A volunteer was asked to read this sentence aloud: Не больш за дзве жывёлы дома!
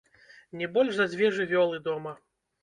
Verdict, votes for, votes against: rejected, 0, 2